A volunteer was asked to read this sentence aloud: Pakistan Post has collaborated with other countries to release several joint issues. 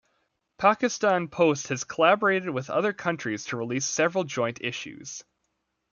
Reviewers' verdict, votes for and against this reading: rejected, 1, 2